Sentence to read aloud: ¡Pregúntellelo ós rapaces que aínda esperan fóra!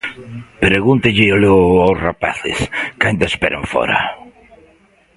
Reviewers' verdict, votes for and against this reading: rejected, 1, 2